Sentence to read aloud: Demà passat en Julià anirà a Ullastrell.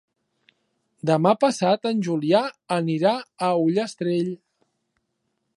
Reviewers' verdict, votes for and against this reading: accepted, 3, 0